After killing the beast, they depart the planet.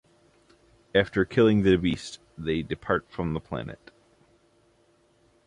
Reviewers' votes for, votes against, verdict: 0, 2, rejected